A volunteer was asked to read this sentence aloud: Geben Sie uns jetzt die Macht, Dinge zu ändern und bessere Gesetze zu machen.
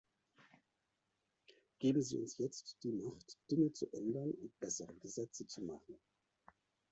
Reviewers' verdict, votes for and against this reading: accepted, 2, 1